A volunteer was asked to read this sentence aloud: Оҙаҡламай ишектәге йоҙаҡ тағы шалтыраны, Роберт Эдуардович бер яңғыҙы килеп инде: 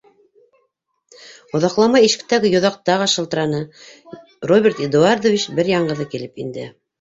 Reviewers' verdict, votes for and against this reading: rejected, 0, 2